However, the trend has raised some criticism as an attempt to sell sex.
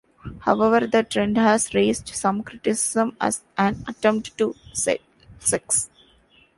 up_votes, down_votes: 1, 3